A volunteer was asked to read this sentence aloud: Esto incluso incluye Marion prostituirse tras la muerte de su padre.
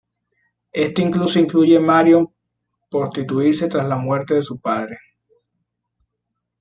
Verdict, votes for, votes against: rejected, 1, 2